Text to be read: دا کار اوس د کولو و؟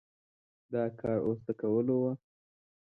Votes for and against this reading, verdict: 2, 0, accepted